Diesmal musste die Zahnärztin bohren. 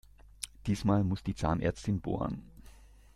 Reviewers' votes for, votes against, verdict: 0, 2, rejected